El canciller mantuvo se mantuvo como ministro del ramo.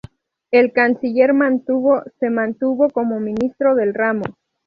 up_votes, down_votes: 0, 2